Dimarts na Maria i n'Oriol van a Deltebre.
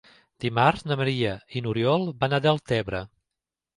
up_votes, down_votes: 4, 0